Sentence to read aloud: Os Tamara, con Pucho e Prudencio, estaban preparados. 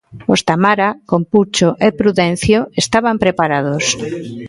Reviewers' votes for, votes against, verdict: 2, 1, accepted